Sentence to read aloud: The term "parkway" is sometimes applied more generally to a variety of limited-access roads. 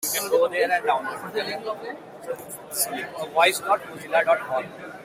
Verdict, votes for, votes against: rejected, 0, 2